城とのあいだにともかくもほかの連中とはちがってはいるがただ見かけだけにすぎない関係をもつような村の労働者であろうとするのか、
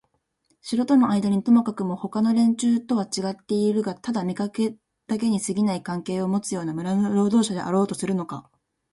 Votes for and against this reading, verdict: 1, 2, rejected